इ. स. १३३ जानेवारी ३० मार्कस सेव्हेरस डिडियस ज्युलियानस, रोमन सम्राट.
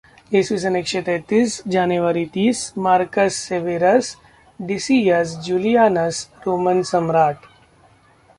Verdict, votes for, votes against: rejected, 0, 2